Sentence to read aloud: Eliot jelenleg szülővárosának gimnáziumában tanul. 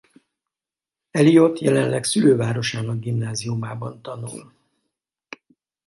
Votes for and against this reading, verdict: 2, 0, accepted